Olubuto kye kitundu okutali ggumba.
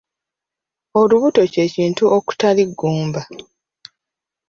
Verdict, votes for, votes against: rejected, 0, 2